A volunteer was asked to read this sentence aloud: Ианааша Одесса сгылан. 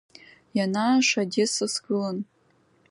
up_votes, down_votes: 2, 0